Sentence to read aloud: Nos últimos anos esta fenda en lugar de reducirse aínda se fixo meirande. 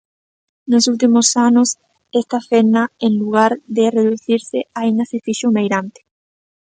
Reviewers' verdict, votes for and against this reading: accepted, 2, 0